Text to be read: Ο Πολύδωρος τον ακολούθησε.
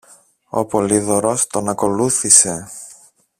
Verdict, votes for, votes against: accepted, 2, 0